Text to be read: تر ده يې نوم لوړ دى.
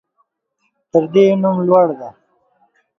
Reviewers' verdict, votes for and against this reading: accepted, 2, 1